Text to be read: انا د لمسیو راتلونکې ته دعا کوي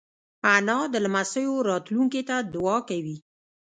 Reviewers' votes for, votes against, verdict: 0, 2, rejected